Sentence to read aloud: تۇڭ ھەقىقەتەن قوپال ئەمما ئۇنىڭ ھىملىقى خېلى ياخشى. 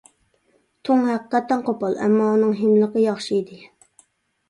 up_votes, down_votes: 0, 2